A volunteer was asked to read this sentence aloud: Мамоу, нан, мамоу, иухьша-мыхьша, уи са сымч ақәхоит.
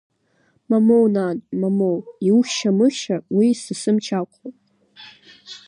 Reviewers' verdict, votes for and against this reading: accepted, 2, 0